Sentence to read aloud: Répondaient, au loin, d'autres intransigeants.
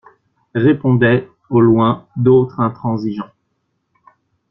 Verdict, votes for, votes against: accepted, 2, 0